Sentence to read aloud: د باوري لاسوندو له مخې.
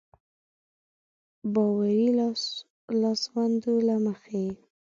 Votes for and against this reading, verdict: 0, 2, rejected